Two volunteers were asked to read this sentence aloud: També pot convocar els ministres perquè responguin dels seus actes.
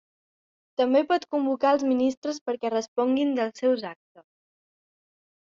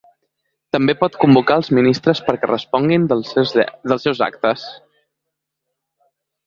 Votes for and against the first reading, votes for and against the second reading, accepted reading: 2, 0, 1, 2, first